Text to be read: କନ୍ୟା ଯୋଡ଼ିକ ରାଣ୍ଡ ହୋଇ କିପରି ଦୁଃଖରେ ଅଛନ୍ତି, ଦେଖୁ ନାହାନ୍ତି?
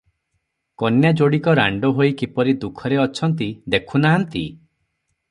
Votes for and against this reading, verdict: 3, 0, accepted